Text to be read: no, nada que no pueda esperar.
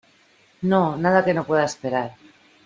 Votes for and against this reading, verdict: 2, 0, accepted